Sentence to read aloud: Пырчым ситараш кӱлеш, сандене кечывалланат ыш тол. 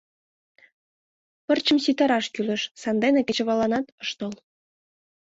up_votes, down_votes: 2, 0